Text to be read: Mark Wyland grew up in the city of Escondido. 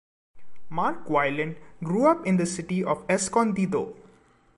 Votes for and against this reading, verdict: 2, 0, accepted